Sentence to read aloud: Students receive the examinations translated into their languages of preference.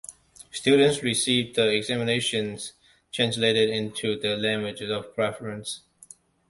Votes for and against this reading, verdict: 2, 1, accepted